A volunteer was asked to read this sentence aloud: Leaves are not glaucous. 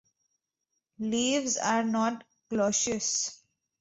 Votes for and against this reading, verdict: 0, 2, rejected